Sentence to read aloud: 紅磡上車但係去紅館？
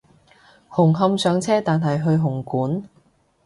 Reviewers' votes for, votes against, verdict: 2, 0, accepted